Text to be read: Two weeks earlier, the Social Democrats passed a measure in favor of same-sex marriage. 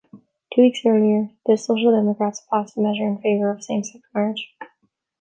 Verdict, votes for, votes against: accepted, 2, 0